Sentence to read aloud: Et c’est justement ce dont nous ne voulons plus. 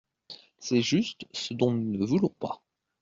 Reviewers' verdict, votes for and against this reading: rejected, 1, 2